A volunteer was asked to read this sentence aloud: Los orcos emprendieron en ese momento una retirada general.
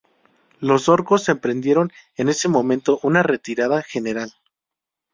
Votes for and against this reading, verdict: 2, 0, accepted